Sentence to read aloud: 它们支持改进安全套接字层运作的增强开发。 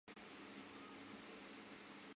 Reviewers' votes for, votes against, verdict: 0, 2, rejected